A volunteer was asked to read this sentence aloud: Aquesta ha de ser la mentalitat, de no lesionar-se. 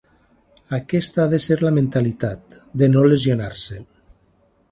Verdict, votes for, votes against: accepted, 3, 0